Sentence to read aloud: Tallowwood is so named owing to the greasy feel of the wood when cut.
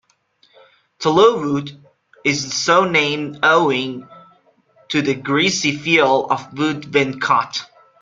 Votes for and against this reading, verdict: 1, 2, rejected